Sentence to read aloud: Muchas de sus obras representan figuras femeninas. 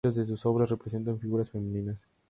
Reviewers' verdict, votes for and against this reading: accepted, 2, 0